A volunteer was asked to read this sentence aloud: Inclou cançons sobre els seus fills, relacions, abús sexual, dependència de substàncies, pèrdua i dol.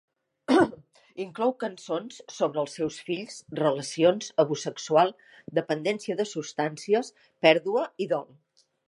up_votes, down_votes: 1, 2